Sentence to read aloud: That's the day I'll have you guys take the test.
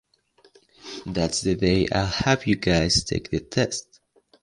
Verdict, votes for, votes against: accepted, 2, 0